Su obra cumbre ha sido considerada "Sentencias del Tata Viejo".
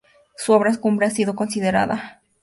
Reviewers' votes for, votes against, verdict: 0, 2, rejected